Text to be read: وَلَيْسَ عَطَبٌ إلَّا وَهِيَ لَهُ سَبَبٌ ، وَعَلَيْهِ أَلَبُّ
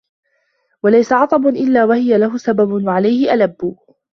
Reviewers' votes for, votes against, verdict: 2, 1, accepted